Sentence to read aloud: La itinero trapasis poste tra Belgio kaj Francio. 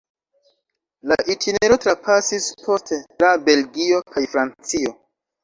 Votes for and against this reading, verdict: 1, 2, rejected